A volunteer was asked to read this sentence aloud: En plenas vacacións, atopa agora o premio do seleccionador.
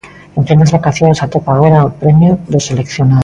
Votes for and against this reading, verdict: 0, 2, rejected